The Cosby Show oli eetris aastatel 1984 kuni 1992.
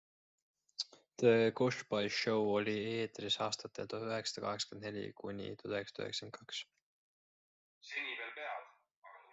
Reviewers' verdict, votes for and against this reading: rejected, 0, 2